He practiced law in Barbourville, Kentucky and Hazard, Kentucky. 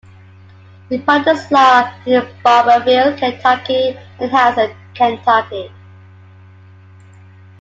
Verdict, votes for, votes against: rejected, 1, 2